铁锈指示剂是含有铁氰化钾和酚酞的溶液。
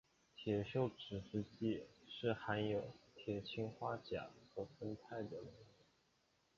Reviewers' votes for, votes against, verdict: 2, 3, rejected